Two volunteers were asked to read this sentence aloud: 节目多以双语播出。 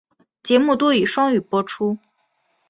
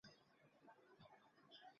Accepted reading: first